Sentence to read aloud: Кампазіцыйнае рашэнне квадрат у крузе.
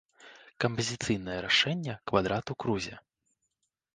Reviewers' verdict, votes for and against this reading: accepted, 2, 0